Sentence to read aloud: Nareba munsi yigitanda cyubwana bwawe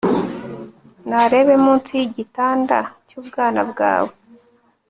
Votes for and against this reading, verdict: 0, 2, rejected